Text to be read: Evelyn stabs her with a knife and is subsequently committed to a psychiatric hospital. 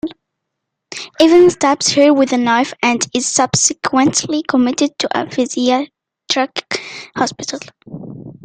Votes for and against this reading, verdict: 0, 2, rejected